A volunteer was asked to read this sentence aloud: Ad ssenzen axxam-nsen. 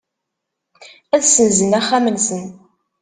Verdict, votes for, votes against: accepted, 2, 0